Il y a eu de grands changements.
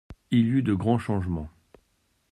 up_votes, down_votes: 0, 2